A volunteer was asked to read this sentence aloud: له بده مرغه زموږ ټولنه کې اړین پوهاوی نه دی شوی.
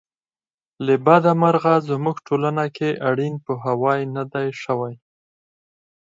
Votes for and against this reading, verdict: 4, 0, accepted